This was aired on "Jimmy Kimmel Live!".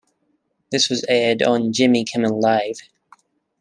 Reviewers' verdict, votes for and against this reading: accepted, 2, 0